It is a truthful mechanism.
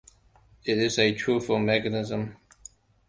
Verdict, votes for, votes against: accepted, 2, 0